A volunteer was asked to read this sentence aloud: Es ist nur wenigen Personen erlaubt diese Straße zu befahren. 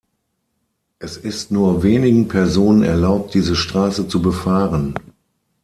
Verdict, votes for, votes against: accepted, 6, 0